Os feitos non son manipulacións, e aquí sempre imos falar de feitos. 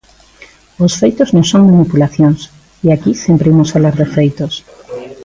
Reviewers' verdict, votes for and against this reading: accepted, 2, 0